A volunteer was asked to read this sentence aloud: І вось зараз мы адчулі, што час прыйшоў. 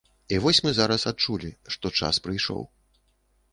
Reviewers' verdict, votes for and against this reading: rejected, 1, 2